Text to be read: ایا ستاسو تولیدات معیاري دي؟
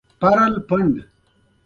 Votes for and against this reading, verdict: 1, 2, rejected